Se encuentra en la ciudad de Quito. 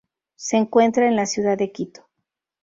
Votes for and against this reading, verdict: 2, 0, accepted